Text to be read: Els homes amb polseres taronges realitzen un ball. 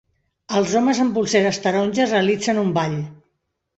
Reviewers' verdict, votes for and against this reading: accepted, 3, 0